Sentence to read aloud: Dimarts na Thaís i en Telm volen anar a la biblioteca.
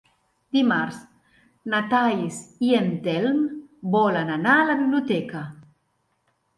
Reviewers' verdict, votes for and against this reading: rejected, 1, 2